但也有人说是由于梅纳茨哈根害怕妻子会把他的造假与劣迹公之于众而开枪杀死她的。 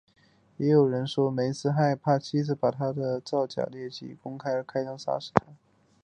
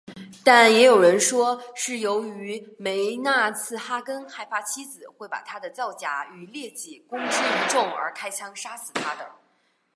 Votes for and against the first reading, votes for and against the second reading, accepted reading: 3, 4, 3, 0, second